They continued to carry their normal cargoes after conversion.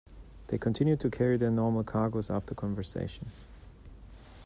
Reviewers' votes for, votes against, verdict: 0, 2, rejected